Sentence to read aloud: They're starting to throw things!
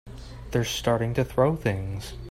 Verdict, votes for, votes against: accepted, 3, 0